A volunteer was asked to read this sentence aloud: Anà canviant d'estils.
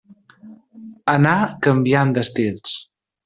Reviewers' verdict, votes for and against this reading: accepted, 2, 0